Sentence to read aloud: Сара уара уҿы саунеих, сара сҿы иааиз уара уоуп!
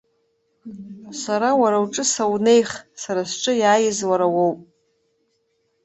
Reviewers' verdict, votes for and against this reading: accepted, 2, 0